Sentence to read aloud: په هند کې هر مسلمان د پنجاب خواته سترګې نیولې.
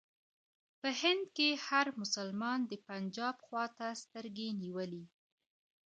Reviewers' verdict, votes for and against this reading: rejected, 1, 2